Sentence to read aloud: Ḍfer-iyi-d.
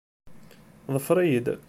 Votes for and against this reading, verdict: 2, 0, accepted